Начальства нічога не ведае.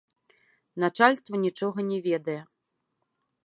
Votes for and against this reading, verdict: 3, 0, accepted